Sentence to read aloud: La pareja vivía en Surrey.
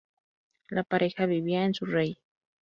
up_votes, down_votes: 2, 2